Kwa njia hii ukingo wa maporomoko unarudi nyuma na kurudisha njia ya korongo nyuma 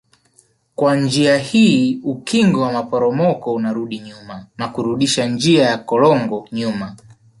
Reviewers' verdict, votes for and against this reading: rejected, 1, 2